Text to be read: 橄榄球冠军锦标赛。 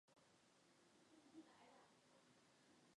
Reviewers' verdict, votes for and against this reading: rejected, 0, 2